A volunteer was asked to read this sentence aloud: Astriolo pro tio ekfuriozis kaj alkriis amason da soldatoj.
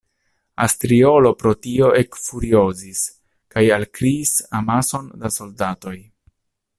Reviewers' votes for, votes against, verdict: 2, 0, accepted